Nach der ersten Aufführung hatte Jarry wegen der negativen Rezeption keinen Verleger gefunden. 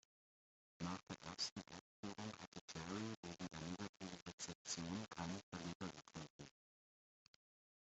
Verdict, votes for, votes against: rejected, 0, 2